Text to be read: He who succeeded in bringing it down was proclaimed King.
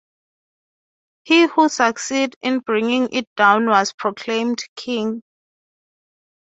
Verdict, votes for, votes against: accepted, 3, 0